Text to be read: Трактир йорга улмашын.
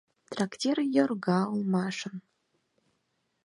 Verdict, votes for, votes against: accepted, 4, 0